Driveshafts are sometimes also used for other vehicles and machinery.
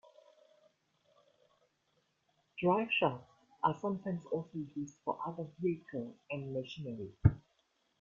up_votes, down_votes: 2, 1